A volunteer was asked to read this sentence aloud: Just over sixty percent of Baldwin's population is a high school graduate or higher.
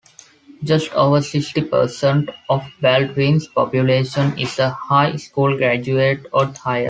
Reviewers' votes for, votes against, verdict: 2, 1, accepted